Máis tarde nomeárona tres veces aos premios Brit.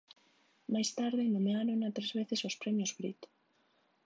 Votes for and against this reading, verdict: 2, 0, accepted